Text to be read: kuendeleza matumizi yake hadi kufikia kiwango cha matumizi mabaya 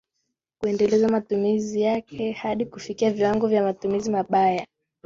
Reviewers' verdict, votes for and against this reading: rejected, 0, 2